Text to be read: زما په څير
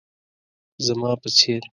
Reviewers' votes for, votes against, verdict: 2, 0, accepted